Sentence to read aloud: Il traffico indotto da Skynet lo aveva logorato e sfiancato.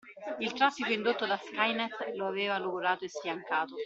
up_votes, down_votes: 2, 0